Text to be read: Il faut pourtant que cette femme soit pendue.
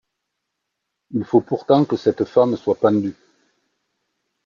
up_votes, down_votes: 2, 1